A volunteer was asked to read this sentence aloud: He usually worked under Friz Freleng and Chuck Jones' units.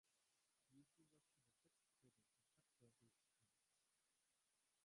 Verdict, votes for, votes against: rejected, 0, 3